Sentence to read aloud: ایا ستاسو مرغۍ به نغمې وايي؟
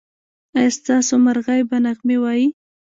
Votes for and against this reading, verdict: 0, 2, rejected